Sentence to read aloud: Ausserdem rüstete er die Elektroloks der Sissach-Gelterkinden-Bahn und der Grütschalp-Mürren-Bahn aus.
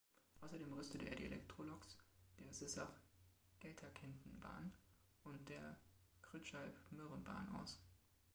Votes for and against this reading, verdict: 2, 1, accepted